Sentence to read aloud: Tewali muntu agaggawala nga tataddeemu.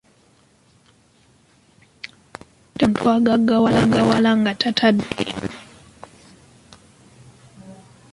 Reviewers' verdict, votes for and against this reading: rejected, 0, 2